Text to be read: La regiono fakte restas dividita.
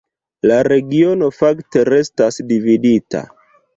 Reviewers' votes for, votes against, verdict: 2, 0, accepted